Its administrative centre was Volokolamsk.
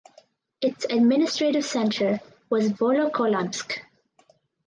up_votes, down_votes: 4, 0